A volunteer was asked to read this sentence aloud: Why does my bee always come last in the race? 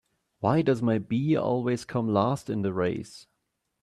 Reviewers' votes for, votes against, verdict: 2, 0, accepted